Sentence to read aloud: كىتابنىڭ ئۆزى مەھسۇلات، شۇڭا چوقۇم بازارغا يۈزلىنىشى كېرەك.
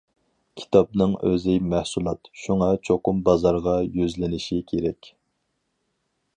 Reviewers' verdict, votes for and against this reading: accepted, 4, 0